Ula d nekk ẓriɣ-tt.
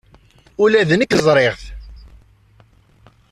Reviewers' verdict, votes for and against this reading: rejected, 1, 2